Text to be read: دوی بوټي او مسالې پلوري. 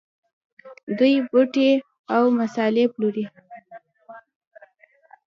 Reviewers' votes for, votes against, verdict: 1, 2, rejected